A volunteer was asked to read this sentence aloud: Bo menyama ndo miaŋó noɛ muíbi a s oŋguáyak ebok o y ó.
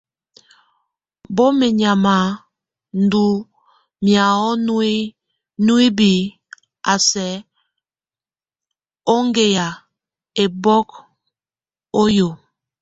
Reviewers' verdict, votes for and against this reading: rejected, 0, 2